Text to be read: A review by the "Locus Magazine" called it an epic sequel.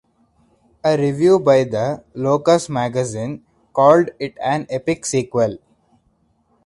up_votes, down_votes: 6, 0